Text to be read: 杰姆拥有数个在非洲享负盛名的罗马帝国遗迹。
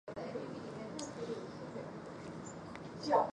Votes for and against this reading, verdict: 0, 3, rejected